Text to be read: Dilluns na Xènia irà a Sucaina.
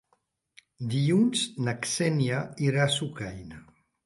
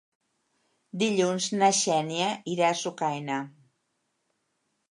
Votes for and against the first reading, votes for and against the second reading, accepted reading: 1, 2, 3, 0, second